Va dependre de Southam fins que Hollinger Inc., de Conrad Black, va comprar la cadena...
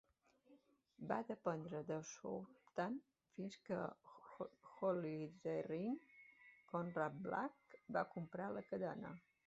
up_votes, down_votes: 0, 2